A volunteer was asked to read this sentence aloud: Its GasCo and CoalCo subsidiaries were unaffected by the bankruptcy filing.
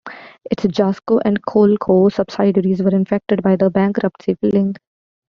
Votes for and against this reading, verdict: 0, 2, rejected